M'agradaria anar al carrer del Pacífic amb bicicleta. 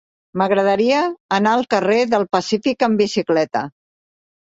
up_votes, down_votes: 4, 0